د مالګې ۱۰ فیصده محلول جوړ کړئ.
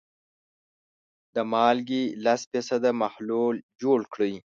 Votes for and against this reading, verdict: 0, 2, rejected